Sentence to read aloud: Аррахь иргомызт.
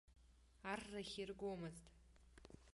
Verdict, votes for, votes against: accepted, 2, 0